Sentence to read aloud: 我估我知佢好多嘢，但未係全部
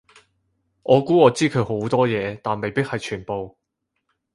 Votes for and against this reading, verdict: 2, 4, rejected